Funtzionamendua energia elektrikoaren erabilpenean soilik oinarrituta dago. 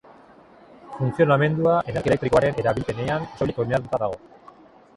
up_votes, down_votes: 0, 2